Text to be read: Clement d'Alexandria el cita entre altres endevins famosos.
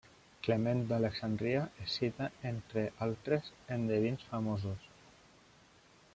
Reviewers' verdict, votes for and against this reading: rejected, 1, 2